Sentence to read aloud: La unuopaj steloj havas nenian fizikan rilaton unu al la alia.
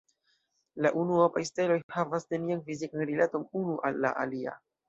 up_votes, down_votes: 2, 0